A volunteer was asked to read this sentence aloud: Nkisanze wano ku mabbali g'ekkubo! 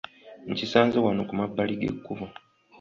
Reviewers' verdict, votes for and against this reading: accepted, 2, 0